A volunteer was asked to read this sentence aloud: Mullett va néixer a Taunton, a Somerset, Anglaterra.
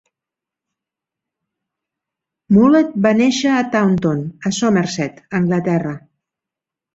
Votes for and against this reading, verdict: 2, 0, accepted